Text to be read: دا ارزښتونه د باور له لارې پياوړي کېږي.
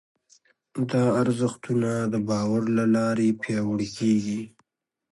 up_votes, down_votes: 2, 0